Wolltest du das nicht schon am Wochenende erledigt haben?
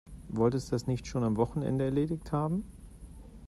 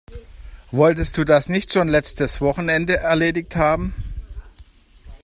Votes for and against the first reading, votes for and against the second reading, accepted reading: 2, 0, 0, 2, first